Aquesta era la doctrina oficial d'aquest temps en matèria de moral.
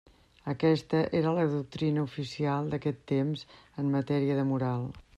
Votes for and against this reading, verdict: 2, 0, accepted